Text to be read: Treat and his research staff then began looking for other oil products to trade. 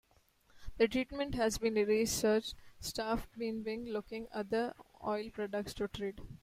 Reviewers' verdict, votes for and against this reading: rejected, 0, 2